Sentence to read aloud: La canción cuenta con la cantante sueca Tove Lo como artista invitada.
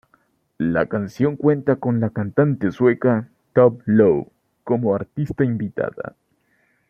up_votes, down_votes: 2, 1